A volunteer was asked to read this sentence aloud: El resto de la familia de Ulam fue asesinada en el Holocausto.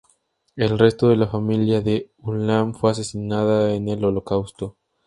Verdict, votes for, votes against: rejected, 0, 2